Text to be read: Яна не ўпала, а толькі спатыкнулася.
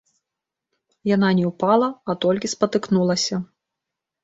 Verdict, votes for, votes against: rejected, 0, 2